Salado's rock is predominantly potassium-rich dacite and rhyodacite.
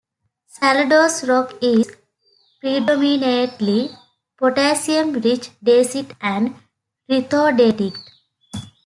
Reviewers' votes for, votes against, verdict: 1, 2, rejected